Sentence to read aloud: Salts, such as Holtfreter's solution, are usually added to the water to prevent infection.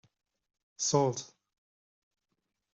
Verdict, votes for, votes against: rejected, 0, 2